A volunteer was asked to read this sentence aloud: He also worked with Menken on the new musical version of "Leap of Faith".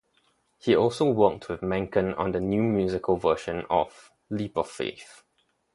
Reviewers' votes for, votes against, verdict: 0, 2, rejected